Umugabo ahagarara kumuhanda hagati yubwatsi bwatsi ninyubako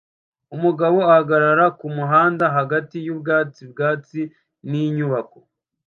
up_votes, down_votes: 2, 0